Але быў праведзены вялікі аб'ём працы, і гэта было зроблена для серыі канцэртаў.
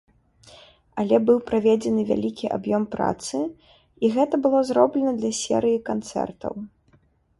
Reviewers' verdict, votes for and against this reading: accepted, 2, 0